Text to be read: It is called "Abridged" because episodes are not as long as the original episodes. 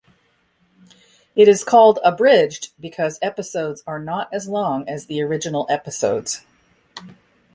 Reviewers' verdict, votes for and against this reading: accepted, 2, 0